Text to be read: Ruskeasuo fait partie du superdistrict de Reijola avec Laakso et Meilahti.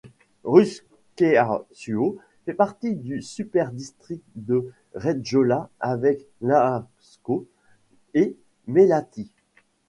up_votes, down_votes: 1, 2